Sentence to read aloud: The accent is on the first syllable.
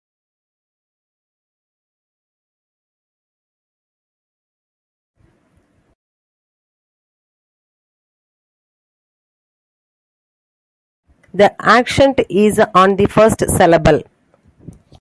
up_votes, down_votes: 0, 2